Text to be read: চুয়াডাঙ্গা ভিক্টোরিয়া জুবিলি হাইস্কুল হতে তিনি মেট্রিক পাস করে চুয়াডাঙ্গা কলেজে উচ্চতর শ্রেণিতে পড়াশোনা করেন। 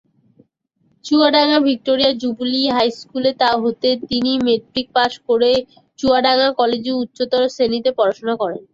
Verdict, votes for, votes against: rejected, 0, 2